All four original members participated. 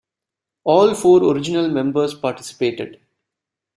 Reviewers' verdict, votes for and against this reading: accepted, 2, 1